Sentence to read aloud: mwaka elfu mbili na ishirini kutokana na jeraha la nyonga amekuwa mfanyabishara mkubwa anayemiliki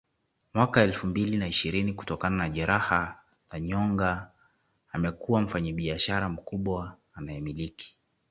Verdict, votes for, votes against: rejected, 1, 2